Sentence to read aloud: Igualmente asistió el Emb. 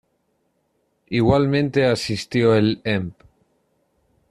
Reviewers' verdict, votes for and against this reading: accepted, 2, 0